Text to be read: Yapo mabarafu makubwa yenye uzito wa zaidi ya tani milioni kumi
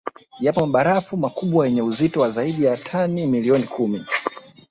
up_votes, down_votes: 1, 2